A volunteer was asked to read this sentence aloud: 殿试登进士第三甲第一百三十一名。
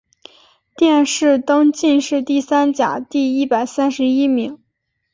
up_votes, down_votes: 2, 0